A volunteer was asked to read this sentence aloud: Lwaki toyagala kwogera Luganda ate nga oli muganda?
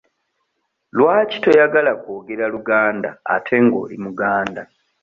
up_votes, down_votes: 2, 0